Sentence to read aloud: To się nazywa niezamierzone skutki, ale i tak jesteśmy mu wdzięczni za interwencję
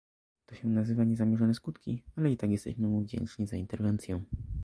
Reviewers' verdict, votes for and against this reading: rejected, 0, 2